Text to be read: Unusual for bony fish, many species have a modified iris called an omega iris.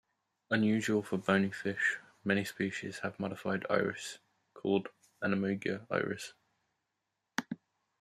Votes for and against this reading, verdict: 2, 1, accepted